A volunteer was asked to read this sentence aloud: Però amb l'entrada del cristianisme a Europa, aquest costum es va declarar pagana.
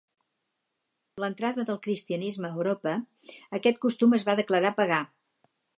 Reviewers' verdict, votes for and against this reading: rejected, 0, 2